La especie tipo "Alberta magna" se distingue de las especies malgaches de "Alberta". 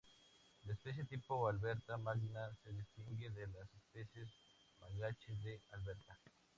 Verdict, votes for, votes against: rejected, 0, 2